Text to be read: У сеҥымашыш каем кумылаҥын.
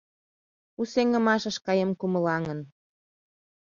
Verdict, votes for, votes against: accepted, 2, 0